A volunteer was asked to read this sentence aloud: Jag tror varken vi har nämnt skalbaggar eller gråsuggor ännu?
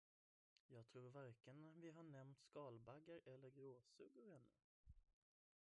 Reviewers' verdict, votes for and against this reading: rejected, 0, 2